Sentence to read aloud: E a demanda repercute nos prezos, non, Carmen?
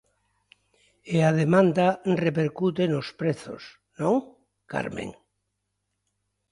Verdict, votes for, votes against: accepted, 2, 0